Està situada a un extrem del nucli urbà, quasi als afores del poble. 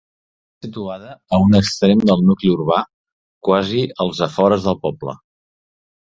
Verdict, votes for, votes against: rejected, 0, 2